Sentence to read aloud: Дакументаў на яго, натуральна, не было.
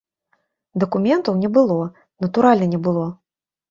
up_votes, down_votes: 0, 2